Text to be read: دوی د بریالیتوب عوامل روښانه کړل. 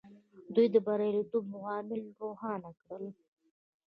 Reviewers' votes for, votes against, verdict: 2, 0, accepted